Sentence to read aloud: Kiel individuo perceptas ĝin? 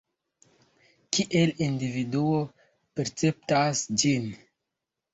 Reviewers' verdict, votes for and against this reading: rejected, 1, 2